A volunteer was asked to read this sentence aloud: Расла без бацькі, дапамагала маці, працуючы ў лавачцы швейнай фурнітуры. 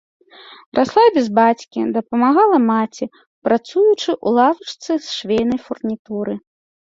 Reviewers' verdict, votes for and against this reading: rejected, 0, 2